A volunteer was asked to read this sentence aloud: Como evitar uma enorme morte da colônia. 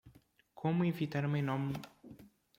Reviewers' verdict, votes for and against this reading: rejected, 0, 2